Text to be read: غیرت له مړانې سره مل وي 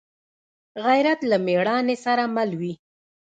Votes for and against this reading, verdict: 0, 2, rejected